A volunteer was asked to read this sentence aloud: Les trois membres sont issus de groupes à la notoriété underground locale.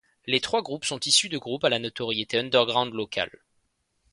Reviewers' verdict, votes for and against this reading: rejected, 1, 2